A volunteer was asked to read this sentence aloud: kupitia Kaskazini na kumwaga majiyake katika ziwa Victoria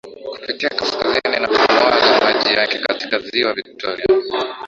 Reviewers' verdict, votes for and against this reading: rejected, 4, 4